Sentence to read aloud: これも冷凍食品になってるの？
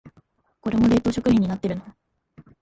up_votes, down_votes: 2, 4